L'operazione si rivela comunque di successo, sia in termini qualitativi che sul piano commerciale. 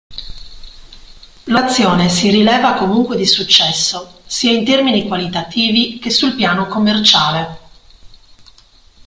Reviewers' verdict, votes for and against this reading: rejected, 0, 2